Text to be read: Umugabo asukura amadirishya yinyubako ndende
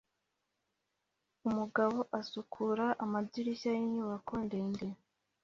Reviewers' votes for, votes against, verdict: 2, 1, accepted